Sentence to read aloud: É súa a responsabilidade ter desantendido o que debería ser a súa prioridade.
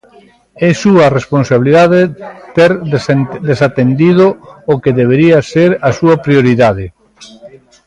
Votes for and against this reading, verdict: 0, 2, rejected